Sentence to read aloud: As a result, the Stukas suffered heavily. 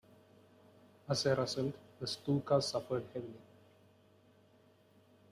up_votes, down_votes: 2, 3